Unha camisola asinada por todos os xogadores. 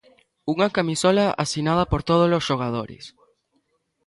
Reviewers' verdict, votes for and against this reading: accepted, 2, 0